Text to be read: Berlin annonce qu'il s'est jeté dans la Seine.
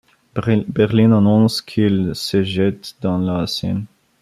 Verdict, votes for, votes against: rejected, 0, 2